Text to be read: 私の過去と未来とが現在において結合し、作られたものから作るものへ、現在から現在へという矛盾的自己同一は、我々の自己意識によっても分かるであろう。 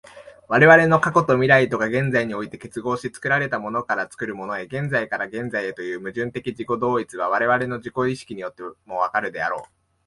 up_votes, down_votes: 0, 2